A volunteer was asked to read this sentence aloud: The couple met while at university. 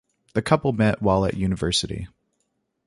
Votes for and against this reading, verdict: 2, 0, accepted